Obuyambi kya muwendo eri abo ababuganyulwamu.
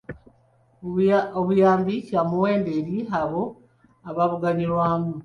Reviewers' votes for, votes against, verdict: 2, 0, accepted